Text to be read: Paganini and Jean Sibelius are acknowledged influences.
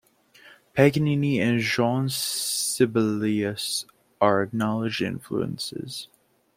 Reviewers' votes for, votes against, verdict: 2, 3, rejected